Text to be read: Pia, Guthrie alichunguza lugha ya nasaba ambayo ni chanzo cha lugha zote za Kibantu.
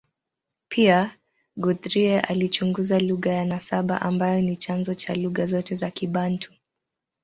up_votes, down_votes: 2, 2